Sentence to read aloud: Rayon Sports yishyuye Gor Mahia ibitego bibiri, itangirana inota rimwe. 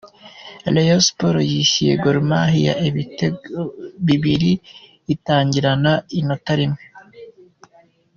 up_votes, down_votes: 2, 0